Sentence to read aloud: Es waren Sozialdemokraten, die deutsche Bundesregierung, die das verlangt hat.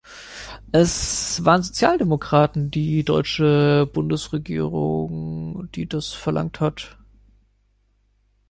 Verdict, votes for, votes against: accepted, 2, 0